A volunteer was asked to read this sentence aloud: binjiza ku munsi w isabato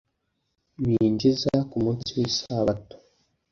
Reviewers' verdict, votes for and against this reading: accepted, 2, 0